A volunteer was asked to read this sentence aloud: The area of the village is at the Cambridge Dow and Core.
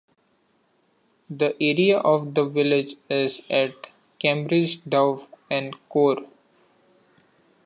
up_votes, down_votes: 2, 1